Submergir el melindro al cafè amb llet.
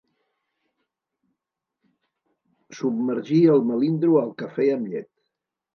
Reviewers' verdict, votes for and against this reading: accepted, 2, 0